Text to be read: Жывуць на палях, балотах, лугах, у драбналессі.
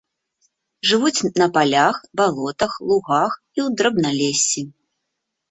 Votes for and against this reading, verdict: 0, 2, rejected